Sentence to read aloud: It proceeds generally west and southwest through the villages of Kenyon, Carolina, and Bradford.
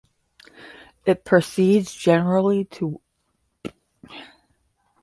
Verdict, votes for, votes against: rejected, 0, 10